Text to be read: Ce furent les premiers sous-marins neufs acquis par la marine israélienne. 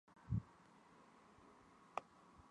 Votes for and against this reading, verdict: 0, 2, rejected